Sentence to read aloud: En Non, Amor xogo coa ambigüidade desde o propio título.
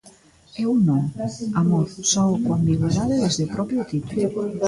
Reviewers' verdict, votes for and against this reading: rejected, 0, 2